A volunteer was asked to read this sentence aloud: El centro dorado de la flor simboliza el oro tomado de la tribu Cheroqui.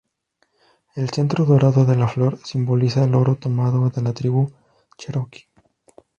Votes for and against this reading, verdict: 0, 2, rejected